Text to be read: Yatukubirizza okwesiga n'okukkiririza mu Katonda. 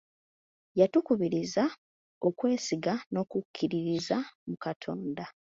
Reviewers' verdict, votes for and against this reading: accepted, 2, 0